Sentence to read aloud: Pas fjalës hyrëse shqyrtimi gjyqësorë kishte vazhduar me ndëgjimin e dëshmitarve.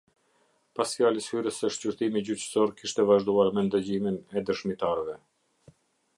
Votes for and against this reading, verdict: 2, 0, accepted